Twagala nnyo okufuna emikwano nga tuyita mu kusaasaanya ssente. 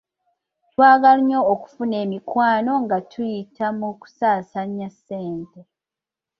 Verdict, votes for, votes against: rejected, 0, 2